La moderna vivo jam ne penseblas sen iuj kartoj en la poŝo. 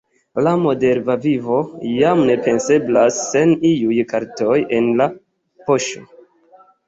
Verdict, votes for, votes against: accepted, 2, 0